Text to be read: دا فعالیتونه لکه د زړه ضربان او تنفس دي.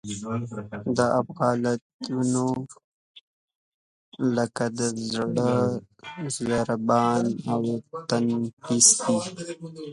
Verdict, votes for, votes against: rejected, 1, 2